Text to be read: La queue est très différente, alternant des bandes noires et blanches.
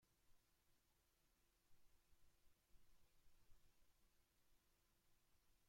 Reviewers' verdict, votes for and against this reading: rejected, 0, 2